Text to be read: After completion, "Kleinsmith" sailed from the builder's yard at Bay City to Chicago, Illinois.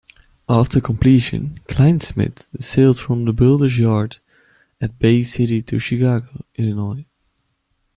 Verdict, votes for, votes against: accepted, 2, 0